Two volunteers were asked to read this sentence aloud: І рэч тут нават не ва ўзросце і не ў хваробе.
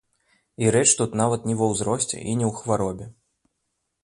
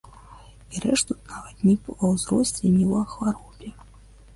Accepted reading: first